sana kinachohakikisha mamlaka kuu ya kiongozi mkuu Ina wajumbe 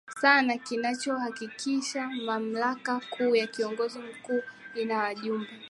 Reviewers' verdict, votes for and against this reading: accepted, 4, 0